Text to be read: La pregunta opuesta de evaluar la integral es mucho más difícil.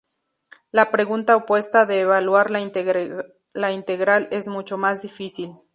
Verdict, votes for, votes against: rejected, 0, 2